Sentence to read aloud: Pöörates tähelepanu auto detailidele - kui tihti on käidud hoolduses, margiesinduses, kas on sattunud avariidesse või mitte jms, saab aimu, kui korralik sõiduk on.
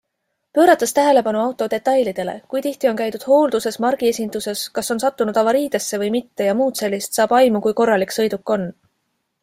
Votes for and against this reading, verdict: 2, 0, accepted